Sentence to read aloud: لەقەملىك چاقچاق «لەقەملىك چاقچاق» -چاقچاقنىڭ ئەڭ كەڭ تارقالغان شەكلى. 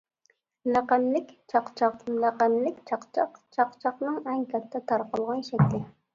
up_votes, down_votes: 1, 2